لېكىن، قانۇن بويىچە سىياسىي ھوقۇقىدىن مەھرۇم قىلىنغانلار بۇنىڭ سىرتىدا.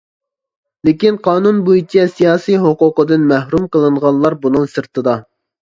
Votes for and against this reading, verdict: 2, 0, accepted